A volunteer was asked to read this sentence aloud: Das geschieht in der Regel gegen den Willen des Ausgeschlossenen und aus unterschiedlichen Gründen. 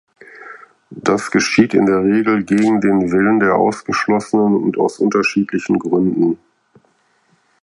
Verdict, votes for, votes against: accepted, 4, 2